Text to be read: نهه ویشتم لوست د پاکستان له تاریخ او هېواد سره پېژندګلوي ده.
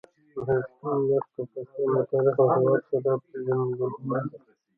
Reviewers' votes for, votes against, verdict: 2, 0, accepted